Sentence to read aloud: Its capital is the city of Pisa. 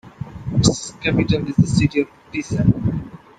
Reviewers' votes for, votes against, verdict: 2, 1, accepted